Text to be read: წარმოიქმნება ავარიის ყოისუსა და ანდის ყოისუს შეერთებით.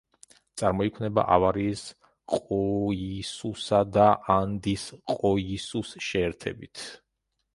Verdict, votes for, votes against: rejected, 1, 2